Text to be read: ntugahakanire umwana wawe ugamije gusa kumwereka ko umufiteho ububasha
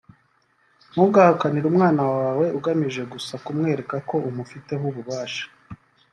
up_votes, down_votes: 1, 2